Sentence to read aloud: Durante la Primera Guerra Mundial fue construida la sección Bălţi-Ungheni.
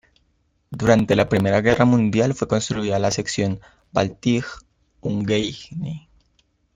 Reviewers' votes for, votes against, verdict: 1, 2, rejected